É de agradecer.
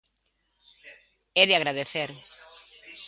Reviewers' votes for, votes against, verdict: 2, 0, accepted